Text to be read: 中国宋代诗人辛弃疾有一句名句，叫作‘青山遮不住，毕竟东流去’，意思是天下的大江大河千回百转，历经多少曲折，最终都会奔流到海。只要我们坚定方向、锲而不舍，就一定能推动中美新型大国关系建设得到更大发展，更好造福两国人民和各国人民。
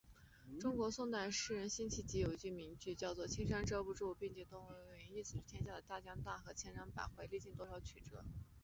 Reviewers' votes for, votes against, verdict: 3, 4, rejected